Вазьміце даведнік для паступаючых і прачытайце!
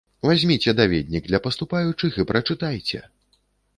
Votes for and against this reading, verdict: 2, 0, accepted